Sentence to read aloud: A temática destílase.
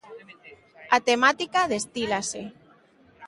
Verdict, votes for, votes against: accepted, 2, 0